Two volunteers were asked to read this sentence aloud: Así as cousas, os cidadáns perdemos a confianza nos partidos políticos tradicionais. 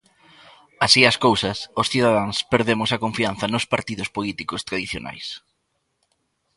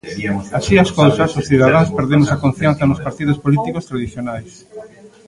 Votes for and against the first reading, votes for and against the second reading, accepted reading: 2, 0, 0, 2, first